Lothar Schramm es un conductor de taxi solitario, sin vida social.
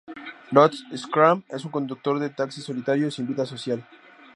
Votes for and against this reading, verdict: 2, 0, accepted